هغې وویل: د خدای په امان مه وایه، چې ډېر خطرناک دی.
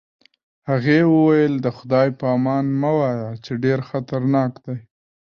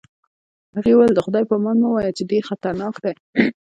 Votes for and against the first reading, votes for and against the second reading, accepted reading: 2, 0, 1, 2, first